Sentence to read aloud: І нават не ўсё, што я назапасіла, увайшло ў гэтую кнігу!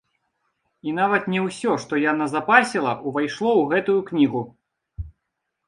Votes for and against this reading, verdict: 2, 0, accepted